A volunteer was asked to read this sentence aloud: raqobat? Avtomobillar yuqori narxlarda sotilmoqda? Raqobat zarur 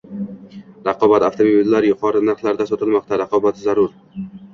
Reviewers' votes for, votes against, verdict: 2, 0, accepted